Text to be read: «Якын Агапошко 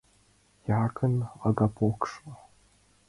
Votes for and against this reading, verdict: 2, 0, accepted